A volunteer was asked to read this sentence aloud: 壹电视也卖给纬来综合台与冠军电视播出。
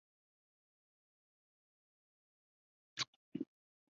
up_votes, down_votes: 2, 4